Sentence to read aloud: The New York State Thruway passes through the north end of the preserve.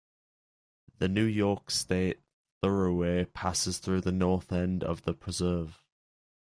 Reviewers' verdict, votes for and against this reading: rejected, 2, 3